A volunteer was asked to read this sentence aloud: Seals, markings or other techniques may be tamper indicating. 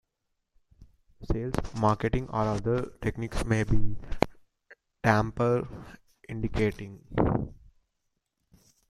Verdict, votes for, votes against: rejected, 0, 2